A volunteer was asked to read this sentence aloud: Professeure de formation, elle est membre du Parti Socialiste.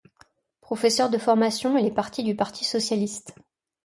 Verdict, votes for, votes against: rejected, 1, 2